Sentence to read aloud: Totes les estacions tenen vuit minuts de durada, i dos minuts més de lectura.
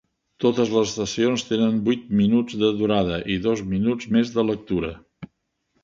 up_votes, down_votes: 2, 1